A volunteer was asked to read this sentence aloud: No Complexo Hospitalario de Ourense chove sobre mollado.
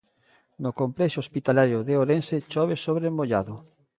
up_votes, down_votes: 0, 2